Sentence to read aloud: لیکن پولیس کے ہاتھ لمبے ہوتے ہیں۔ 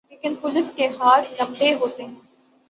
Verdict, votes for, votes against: rejected, 0, 3